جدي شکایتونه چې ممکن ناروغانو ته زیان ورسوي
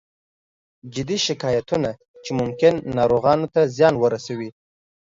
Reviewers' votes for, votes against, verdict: 2, 0, accepted